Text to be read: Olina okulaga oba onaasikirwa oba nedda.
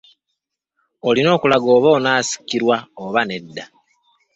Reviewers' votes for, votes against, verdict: 2, 1, accepted